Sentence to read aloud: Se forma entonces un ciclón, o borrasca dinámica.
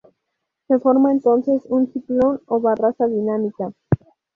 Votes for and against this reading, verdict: 0, 2, rejected